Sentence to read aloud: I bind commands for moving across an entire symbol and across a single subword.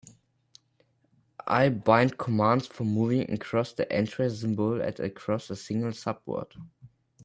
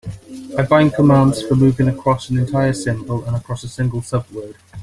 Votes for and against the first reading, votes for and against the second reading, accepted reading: 2, 11, 2, 1, second